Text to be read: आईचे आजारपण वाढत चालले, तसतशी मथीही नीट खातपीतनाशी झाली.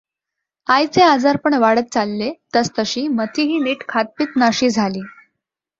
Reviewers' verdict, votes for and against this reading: accepted, 2, 0